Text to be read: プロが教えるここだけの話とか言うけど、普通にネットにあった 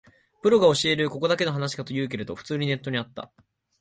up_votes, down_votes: 1, 2